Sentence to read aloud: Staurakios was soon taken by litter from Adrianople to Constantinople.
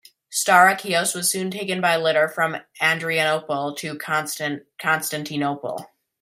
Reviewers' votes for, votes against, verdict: 0, 2, rejected